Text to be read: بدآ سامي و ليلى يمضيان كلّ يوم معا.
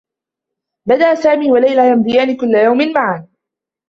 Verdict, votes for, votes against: accepted, 2, 1